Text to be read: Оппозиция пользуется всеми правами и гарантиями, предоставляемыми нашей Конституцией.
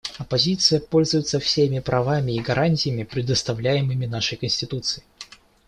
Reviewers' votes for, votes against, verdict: 2, 0, accepted